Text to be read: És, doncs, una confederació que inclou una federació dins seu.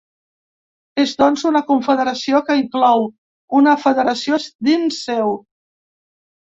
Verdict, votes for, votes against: rejected, 0, 2